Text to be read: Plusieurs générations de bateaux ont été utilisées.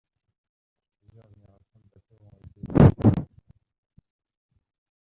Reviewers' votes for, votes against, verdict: 0, 2, rejected